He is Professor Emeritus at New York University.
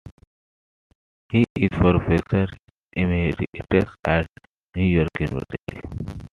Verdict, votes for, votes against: rejected, 1, 2